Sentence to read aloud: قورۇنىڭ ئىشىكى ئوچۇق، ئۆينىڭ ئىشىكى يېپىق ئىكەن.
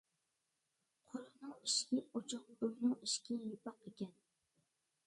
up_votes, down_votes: 0, 2